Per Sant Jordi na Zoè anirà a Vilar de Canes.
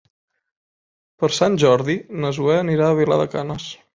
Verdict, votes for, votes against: accepted, 9, 0